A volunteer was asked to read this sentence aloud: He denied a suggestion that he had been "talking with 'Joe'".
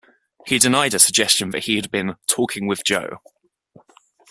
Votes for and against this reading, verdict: 1, 2, rejected